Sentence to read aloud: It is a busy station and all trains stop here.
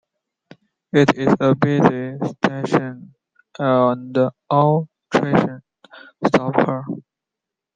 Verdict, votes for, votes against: rejected, 0, 2